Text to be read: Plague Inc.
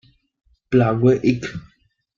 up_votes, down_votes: 1, 2